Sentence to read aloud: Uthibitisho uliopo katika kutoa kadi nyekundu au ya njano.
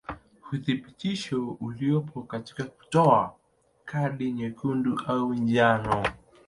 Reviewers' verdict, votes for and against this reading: accepted, 2, 0